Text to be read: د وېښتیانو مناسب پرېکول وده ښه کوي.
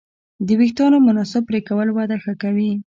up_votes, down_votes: 2, 0